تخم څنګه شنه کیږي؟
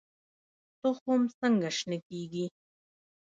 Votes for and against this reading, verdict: 0, 2, rejected